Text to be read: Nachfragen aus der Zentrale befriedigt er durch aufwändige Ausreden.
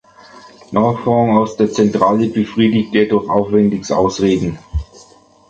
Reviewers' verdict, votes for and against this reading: rejected, 0, 2